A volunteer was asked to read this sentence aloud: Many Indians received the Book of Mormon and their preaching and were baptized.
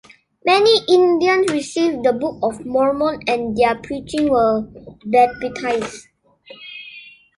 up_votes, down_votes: 1, 2